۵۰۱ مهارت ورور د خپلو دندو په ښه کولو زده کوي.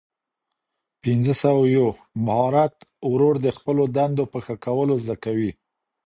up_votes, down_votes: 0, 2